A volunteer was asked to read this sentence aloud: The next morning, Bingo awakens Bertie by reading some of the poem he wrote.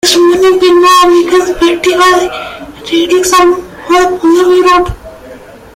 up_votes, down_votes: 0, 2